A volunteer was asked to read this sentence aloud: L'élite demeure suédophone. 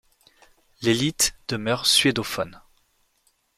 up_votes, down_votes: 2, 0